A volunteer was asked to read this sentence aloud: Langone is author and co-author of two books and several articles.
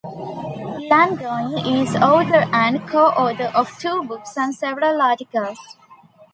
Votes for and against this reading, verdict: 2, 0, accepted